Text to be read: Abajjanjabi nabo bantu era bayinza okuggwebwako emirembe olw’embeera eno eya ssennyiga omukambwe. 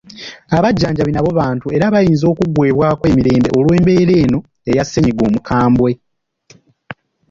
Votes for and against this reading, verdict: 1, 2, rejected